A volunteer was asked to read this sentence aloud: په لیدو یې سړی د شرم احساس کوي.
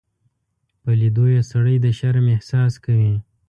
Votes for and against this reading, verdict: 2, 0, accepted